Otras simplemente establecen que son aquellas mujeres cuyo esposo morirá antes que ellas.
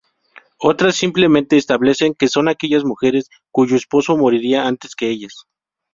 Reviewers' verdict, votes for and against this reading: rejected, 0, 2